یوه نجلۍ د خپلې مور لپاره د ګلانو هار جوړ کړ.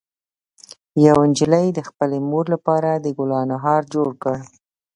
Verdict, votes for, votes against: rejected, 1, 2